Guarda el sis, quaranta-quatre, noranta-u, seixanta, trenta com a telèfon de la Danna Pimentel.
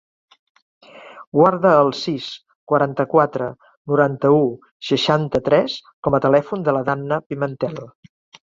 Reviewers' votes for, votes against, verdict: 0, 2, rejected